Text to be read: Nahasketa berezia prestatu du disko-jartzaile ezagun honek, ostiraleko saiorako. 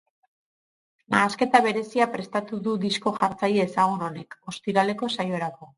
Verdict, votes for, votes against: accepted, 4, 0